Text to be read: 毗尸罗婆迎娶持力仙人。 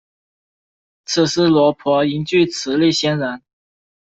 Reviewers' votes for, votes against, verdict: 1, 2, rejected